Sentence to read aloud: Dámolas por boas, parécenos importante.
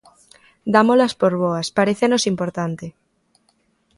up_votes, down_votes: 2, 0